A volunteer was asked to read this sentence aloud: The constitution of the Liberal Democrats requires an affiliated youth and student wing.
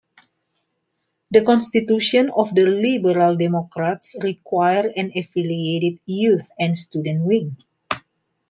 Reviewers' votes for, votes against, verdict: 2, 0, accepted